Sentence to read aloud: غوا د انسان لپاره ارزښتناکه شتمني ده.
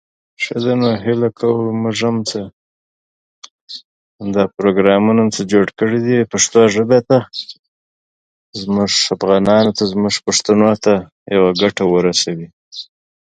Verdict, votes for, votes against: rejected, 0, 2